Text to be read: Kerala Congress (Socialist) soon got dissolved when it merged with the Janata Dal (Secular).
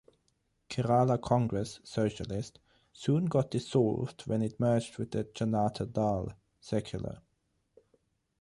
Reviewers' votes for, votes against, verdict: 12, 0, accepted